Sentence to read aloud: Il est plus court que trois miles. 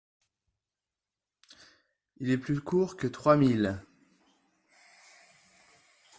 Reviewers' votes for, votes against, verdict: 2, 0, accepted